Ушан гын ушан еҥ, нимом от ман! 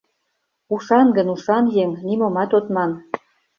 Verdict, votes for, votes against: rejected, 0, 2